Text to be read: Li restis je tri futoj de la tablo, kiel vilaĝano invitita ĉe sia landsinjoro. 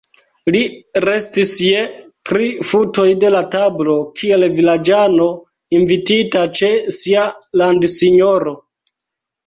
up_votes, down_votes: 1, 2